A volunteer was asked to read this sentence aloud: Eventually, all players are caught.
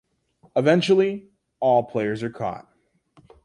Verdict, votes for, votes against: accepted, 2, 0